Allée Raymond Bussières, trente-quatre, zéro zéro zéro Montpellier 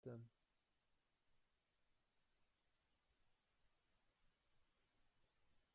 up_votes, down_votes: 0, 2